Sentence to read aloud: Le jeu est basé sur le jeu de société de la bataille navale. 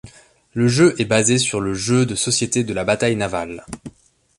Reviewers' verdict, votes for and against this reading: accepted, 2, 0